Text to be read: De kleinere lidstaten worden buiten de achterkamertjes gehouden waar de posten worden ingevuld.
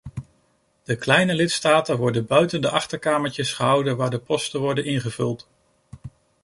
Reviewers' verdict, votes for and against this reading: rejected, 0, 2